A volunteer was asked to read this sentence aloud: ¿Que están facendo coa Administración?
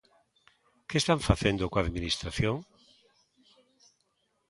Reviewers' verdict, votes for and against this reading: accepted, 2, 0